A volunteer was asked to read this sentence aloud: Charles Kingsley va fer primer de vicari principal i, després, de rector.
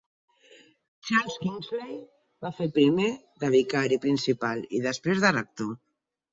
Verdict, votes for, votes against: accepted, 4, 0